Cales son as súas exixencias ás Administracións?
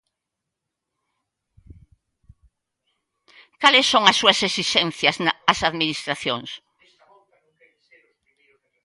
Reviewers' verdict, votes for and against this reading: rejected, 0, 2